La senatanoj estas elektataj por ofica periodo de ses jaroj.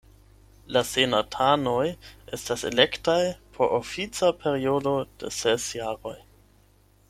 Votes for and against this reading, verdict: 4, 8, rejected